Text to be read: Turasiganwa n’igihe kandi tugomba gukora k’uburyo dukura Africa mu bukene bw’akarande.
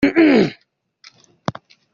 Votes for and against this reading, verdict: 0, 2, rejected